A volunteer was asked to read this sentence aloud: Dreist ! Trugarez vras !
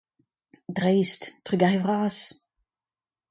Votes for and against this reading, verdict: 2, 0, accepted